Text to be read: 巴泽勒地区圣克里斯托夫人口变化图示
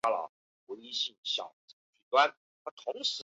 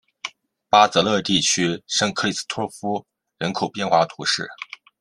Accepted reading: second